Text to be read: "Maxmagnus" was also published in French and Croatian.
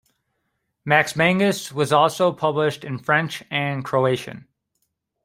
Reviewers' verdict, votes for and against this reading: rejected, 1, 2